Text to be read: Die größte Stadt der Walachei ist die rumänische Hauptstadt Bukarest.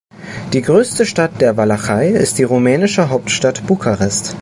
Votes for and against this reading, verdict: 2, 0, accepted